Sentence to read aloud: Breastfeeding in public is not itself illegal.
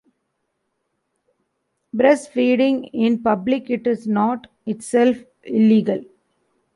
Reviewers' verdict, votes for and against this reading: rejected, 0, 2